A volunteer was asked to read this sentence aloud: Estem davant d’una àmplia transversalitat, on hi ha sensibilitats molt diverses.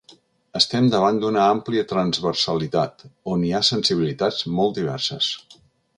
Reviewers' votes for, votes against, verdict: 2, 0, accepted